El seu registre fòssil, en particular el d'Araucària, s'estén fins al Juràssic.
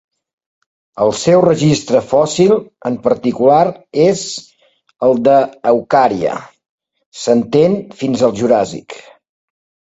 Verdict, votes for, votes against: rejected, 0, 2